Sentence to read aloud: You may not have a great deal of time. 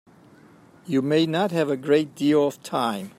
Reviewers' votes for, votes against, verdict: 2, 0, accepted